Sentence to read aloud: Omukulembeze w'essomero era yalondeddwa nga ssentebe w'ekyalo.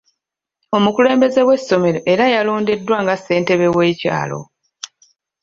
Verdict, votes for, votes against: accepted, 2, 1